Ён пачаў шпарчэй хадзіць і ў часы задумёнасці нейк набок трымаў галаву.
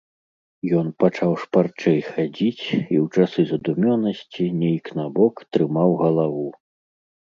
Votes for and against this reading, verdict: 2, 0, accepted